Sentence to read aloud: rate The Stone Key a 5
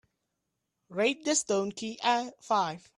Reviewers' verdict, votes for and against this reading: rejected, 0, 2